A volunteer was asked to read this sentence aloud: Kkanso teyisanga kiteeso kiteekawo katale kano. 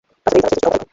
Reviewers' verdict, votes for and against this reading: rejected, 0, 2